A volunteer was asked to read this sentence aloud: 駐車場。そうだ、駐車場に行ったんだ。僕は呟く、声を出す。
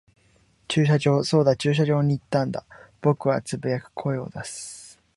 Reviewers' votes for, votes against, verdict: 3, 0, accepted